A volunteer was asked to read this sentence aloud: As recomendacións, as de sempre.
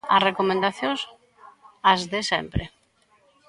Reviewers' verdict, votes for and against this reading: accepted, 2, 0